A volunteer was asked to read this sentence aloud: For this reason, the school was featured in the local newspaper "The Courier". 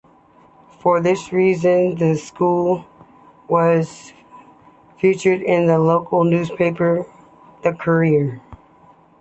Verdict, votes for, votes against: accepted, 2, 0